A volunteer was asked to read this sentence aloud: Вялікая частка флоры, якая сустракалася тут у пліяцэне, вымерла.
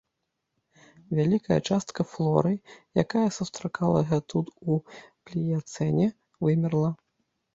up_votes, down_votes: 0, 2